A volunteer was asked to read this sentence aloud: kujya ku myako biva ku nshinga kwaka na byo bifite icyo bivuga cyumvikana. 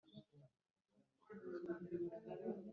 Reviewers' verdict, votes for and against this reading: rejected, 0, 2